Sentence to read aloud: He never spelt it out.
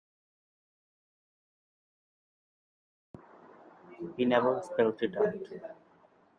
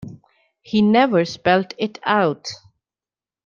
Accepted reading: second